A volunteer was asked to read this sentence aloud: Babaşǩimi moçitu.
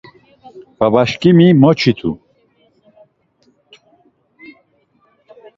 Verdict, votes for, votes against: accepted, 2, 0